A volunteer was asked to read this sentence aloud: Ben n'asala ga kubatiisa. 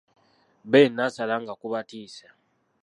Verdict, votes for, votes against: rejected, 0, 2